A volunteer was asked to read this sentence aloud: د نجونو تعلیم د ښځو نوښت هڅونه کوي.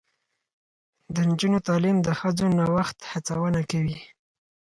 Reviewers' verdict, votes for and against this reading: accepted, 4, 0